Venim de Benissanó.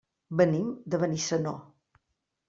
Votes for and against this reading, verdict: 3, 0, accepted